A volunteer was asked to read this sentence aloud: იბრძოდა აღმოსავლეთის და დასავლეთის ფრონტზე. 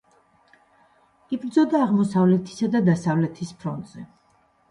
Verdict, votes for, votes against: rejected, 1, 2